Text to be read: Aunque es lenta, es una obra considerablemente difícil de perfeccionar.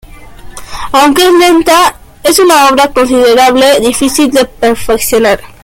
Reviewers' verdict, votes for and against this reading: rejected, 0, 2